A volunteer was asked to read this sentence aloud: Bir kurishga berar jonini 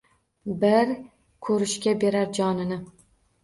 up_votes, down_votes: 0, 2